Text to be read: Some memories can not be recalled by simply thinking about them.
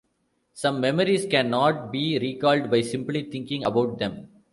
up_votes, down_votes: 2, 0